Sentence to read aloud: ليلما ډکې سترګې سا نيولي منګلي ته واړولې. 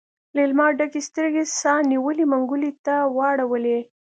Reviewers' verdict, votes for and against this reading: accepted, 2, 0